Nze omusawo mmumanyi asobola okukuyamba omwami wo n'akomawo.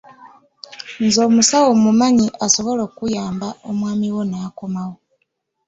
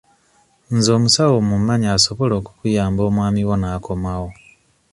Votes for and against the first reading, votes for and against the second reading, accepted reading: 1, 2, 2, 0, second